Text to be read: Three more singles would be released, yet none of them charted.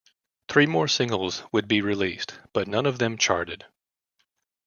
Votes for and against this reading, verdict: 1, 2, rejected